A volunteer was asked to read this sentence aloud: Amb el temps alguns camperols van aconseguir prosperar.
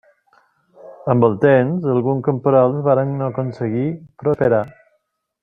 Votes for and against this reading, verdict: 0, 2, rejected